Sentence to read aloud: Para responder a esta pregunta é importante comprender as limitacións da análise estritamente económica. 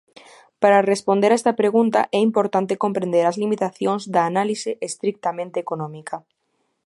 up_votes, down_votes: 1, 2